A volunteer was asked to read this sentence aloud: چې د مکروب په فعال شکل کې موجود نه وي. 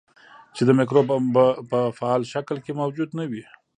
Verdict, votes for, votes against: rejected, 1, 2